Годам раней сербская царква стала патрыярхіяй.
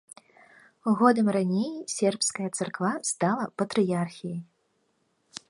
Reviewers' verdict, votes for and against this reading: accepted, 2, 0